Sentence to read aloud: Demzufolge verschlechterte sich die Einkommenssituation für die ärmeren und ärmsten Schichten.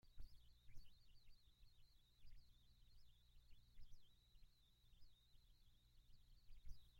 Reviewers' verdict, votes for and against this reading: rejected, 0, 2